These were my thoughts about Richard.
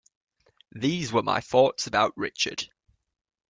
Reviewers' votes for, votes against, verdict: 2, 0, accepted